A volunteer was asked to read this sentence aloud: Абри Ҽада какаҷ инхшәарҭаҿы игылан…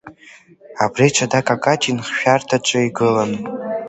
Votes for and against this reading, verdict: 2, 0, accepted